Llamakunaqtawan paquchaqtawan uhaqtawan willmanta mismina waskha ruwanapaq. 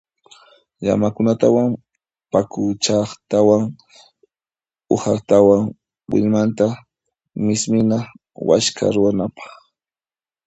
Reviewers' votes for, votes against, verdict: 1, 2, rejected